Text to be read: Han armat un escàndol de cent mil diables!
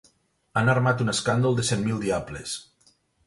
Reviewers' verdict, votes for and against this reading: accepted, 4, 0